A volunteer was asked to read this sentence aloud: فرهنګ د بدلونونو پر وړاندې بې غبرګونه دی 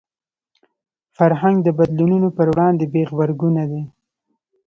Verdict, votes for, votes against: rejected, 1, 2